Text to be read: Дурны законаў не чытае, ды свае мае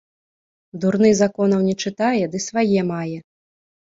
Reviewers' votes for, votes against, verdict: 3, 0, accepted